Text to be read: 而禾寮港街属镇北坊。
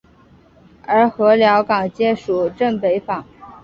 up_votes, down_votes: 3, 1